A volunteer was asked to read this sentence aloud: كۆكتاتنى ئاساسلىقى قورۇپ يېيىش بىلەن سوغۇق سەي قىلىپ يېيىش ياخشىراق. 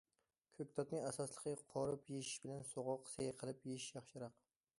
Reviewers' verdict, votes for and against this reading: accepted, 2, 0